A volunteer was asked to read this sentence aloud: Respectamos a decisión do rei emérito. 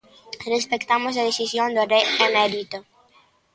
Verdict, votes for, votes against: rejected, 0, 2